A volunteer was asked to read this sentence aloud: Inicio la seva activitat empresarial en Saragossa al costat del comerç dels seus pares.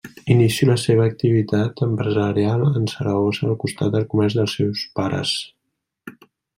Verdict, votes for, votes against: rejected, 0, 2